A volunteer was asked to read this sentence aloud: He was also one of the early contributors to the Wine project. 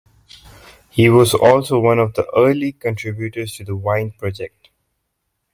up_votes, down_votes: 2, 0